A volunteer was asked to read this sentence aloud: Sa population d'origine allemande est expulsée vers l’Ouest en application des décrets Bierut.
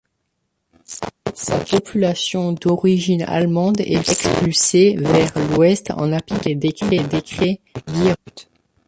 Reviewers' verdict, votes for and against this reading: rejected, 1, 2